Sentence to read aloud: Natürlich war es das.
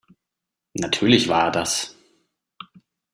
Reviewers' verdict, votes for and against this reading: rejected, 0, 2